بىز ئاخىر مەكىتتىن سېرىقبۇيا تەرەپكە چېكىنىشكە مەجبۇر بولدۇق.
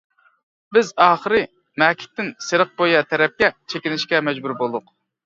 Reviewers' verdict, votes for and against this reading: rejected, 0, 2